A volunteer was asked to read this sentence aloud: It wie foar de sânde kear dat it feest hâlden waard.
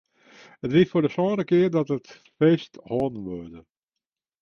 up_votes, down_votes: 0, 2